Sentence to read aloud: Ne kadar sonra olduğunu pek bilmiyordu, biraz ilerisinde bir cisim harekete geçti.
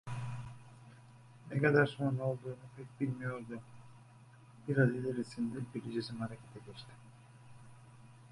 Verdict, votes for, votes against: rejected, 1, 2